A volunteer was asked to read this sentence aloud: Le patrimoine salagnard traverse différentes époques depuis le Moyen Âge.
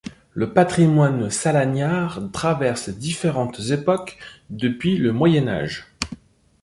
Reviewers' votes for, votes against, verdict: 2, 1, accepted